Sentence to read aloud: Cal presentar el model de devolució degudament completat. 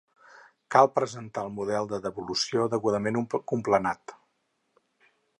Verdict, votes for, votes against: rejected, 0, 4